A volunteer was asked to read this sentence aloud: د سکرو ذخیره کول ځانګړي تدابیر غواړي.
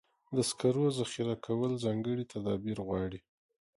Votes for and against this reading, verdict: 2, 0, accepted